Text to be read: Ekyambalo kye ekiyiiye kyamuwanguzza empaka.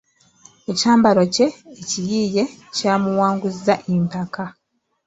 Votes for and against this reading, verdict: 2, 0, accepted